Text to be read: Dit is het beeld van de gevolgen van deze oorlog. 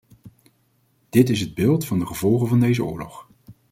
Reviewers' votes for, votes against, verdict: 2, 0, accepted